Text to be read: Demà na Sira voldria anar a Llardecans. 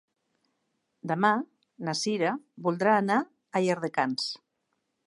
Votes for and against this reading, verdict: 0, 2, rejected